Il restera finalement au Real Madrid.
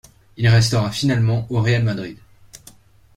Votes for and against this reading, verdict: 2, 0, accepted